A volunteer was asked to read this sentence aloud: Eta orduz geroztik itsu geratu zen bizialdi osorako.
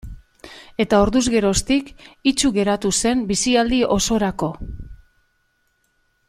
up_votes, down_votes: 2, 0